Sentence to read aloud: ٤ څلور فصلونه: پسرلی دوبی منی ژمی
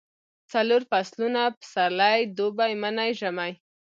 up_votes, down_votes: 0, 2